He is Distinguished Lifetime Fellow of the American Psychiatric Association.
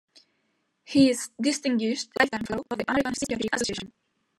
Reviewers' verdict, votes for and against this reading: rejected, 0, 2